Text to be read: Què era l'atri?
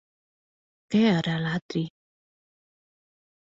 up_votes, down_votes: 2, 1